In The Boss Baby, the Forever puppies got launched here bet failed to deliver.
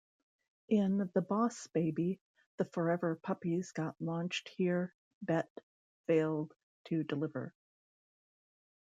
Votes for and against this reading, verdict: 2, 0, accepted